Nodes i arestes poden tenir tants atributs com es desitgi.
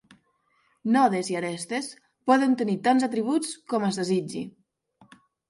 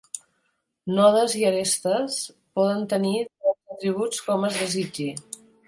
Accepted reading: first